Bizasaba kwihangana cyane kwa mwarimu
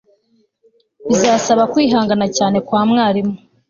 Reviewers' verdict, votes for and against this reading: accepted, 2, 0